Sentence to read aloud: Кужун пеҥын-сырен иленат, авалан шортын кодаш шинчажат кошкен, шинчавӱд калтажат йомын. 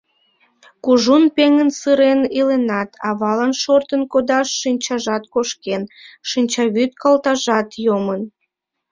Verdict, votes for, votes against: accepted, 2, 0